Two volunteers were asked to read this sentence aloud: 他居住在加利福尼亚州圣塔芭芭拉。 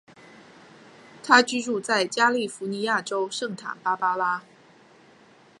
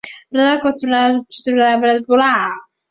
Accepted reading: first